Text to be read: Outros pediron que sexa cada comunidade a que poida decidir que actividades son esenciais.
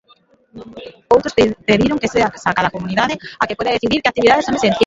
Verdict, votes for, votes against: rejected, 1, 2